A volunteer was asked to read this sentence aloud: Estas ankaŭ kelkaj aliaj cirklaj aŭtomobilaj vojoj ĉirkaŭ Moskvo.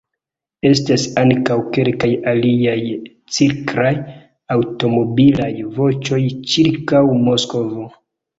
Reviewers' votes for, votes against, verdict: 1, 3, rejected